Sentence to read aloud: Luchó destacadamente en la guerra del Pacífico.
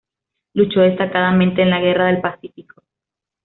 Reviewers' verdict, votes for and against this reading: accepted, 2, 0